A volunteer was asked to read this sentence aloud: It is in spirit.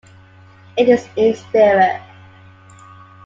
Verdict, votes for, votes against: accepted, 2, 1